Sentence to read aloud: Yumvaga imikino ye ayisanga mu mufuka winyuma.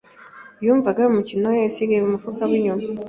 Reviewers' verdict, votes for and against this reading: rejected, 1, 2